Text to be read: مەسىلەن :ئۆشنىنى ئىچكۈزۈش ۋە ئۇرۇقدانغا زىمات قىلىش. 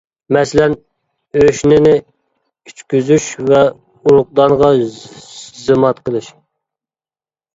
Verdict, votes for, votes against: rejected, 1, 2